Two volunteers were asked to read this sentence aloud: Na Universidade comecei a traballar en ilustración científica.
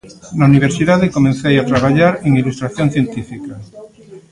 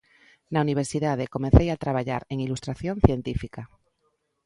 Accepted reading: second